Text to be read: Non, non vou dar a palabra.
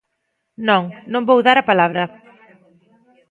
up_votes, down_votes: 3, 0